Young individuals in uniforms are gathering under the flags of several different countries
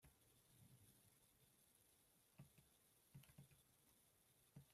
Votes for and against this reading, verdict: 0, 2, rejected